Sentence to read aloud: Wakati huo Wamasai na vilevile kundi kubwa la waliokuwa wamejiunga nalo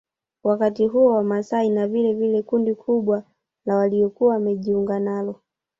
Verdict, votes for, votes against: rejected, 0, 2